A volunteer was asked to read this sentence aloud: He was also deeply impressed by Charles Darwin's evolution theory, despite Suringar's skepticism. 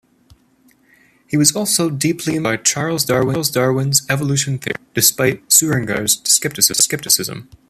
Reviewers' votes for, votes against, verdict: 0, 2, rejected